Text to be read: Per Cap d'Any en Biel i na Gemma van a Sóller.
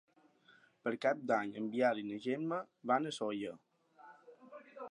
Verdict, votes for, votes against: accepted, 2, 0